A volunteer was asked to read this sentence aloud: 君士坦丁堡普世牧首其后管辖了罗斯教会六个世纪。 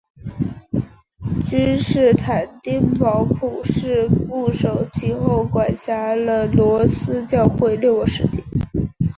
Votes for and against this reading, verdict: 2, 0, accepted